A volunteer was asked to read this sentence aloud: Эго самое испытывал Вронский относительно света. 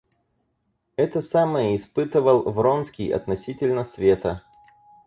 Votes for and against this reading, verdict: 2, 4, rejected